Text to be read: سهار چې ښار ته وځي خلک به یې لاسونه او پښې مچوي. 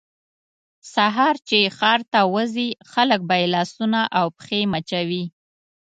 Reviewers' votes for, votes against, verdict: 2, 0, accepted